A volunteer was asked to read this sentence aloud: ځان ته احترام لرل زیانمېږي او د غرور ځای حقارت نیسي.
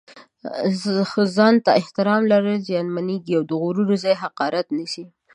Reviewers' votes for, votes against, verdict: 2, 1, accepted